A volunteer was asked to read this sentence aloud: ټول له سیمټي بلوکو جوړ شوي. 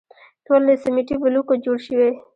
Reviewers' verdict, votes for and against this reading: rejected, 1, 2